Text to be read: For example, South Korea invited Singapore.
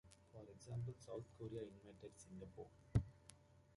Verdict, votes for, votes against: accepted, 2, 0